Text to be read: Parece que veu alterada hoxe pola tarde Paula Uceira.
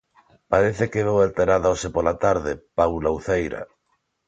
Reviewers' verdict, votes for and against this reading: accepted, 2, 0